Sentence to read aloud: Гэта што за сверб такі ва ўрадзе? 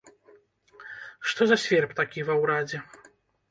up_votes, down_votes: 0, 2